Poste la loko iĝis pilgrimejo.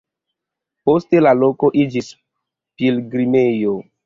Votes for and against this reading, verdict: 2, 0, accepted